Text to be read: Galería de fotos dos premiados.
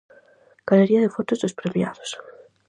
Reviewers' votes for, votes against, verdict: 4, 0, accepted